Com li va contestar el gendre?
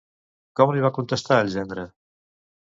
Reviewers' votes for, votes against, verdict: 2, 0, accepted